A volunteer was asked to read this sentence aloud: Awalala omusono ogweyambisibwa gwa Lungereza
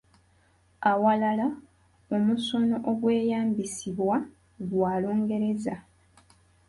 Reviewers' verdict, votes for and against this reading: accepted, 2, 0